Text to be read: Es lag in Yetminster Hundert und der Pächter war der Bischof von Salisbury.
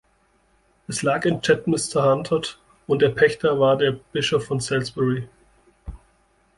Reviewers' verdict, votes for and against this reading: rejected, 0, 2